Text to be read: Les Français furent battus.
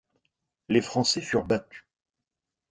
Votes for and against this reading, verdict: 2, 0, accepted